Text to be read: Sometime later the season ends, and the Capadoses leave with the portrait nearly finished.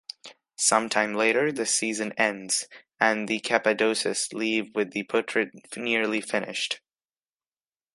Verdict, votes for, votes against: accepted, 2, 1